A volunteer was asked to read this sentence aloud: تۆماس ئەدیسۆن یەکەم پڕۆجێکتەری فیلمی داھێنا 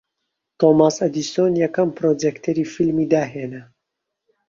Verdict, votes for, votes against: accepted, 2, 0